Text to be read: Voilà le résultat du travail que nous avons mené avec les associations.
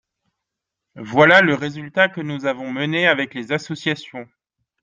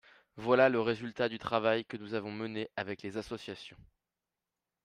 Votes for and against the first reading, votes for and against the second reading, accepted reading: 1, 2, 5, 0, second